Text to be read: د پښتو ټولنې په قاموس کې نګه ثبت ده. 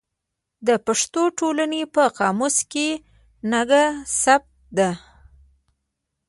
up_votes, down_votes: 0, 2